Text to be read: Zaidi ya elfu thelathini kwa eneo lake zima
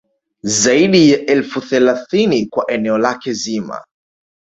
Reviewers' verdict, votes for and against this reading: accepted, 2, 0